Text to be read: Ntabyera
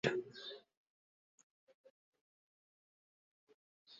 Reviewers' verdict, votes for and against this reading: rejected, 0, 2